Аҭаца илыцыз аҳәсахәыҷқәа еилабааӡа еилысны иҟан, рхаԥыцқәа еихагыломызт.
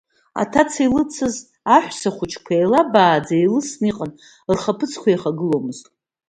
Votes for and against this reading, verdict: 2, 0, accepted